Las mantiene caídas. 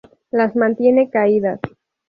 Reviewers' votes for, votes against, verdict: 2, 0, accepted